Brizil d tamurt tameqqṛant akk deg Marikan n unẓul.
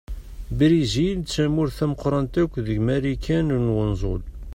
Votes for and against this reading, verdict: 2, 0, accepted